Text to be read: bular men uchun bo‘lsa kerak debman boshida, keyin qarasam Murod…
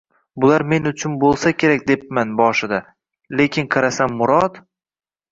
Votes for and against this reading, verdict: 1, 2, rejected